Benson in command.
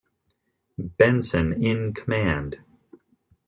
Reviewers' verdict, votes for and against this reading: accepted, 2, 0